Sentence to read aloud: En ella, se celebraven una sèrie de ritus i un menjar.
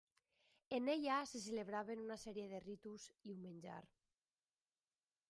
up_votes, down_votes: 0, 2